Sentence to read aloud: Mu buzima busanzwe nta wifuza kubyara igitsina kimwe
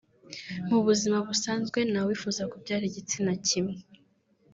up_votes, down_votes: 3, 1